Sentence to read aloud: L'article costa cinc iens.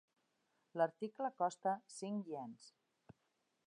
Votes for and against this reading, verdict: 2, 0, accepted